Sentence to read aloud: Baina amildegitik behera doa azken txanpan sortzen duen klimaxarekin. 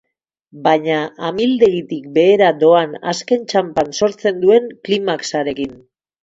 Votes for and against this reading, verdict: 2, 4, rejected